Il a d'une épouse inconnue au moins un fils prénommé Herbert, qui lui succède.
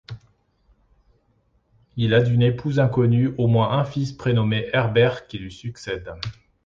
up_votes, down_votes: 2, 0